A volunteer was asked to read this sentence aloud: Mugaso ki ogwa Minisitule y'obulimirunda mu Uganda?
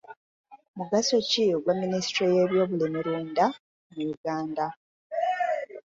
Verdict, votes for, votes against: rejected, 1, 2